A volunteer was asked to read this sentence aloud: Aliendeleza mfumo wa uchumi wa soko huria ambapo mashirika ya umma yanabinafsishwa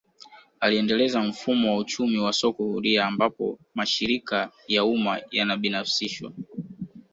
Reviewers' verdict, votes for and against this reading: accepted, 2, 0